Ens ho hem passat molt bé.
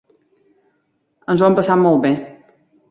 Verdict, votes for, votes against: accepted, 2, 1